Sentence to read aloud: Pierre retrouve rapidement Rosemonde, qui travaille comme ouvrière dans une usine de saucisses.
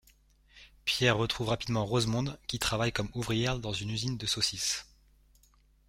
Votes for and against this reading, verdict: 2, 1, accepted